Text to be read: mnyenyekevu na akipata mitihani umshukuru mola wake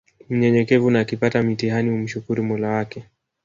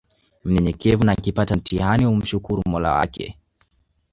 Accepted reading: second